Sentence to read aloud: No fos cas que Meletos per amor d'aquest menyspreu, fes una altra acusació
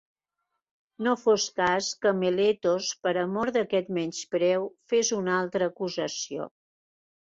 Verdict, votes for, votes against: accepted, 2, 0